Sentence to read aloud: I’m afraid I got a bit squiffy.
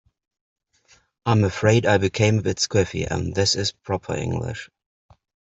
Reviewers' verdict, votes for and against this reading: rejected, 0, 2